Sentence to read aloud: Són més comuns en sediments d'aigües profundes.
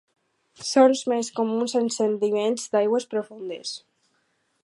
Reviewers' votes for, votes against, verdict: 2, 2, rejected